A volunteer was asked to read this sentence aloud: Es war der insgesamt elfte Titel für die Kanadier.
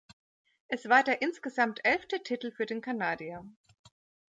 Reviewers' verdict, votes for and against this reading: rejected, 1, 2